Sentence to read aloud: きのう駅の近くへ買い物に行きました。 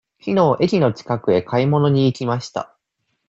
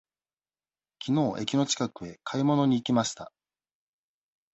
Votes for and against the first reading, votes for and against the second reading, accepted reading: 2, 0, 1, 2, first